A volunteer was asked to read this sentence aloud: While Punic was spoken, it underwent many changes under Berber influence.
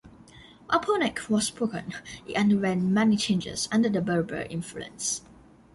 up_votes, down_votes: 0, 3